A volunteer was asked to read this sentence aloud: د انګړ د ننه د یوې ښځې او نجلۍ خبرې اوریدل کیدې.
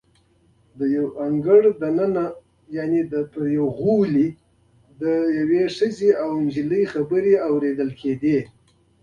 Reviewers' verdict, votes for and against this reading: rejected, 1, 2